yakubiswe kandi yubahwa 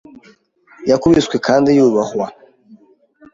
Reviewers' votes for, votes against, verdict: 2, 0, accepted